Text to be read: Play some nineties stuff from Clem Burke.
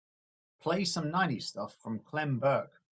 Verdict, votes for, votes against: accepted, 2, 0